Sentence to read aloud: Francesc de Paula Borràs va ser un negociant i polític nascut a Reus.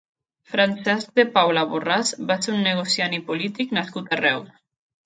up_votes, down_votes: 1, 2